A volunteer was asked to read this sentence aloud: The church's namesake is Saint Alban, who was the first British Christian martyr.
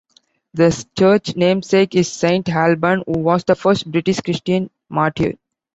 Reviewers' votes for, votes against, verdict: 0, 2, rejected